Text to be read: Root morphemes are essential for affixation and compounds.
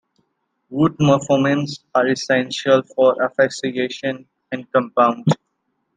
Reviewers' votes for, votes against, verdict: 2, 1, accepted